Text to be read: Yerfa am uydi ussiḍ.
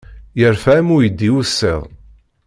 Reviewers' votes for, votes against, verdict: 2, 0, accepted